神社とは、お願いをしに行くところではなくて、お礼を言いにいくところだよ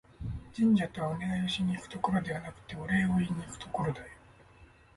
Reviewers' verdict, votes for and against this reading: rejected, 1, 2